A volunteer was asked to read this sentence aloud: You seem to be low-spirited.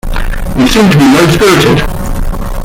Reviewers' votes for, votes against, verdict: 0, 2, rejected